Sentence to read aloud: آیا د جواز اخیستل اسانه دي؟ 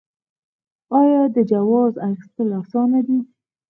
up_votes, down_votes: 2, 4